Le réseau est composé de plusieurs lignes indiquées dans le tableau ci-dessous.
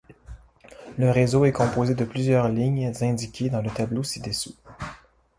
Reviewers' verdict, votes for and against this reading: rejected, 1, 2